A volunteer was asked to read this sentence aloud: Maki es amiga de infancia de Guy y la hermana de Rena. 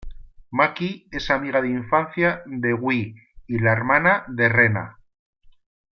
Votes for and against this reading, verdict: 2, 1, accepted